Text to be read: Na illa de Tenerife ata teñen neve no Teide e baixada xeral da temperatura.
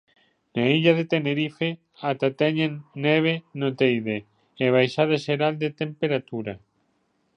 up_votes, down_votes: 1, 2